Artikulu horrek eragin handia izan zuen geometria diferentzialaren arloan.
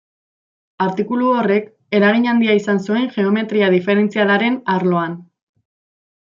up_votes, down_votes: 2, 1